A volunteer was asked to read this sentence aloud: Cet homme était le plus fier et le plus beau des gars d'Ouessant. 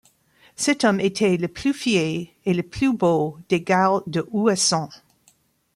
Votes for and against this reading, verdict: 0, 2, rejected